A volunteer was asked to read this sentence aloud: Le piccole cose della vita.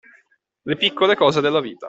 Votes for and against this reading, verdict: 2, 0, accepted